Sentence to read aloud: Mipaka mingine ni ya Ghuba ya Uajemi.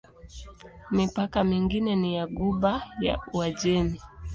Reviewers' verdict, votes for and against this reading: accepted, 2, 0